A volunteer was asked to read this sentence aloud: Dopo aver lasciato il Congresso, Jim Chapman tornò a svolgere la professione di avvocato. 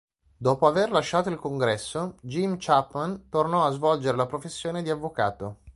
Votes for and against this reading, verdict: 2, 0, accepted